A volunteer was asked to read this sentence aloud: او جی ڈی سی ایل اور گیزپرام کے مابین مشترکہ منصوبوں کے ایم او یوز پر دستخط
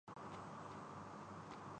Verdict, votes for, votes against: rejected, 0, 10